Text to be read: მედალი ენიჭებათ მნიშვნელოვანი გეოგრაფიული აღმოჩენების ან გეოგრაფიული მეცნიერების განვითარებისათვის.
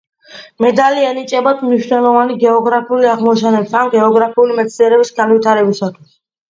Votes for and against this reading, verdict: 2, 1, accepted